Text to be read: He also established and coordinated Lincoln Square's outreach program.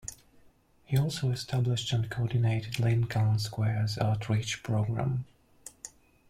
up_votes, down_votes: 2, 0